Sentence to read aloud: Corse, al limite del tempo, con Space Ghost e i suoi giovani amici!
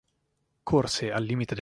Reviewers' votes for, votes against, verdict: 0, 2, rejected